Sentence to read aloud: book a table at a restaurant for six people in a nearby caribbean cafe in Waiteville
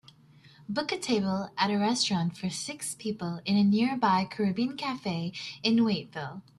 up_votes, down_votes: 4, 0